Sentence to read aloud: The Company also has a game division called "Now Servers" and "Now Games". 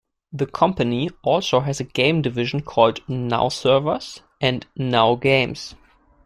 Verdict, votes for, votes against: accepted, 2, 0